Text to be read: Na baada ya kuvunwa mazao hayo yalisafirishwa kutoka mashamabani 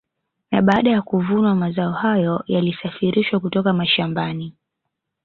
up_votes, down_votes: 2, 0